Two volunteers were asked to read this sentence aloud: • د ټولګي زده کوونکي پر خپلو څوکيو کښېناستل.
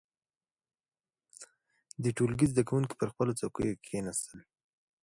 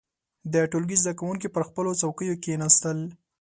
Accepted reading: second